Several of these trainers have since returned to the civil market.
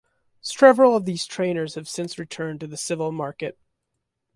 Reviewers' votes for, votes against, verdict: 1, 2, rejected